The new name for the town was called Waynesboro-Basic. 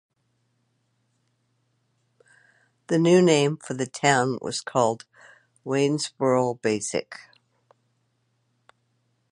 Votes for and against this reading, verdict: 2, 0, accepted